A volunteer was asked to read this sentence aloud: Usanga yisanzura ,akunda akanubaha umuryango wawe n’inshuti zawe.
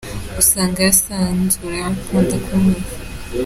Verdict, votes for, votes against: rejected, 0, 3